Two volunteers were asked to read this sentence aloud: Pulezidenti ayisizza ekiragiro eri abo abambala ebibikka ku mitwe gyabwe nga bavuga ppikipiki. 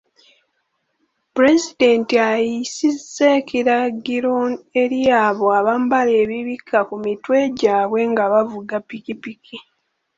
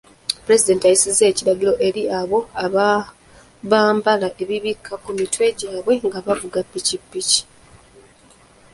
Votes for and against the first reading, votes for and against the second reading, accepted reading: 1, 3, 2, 1, second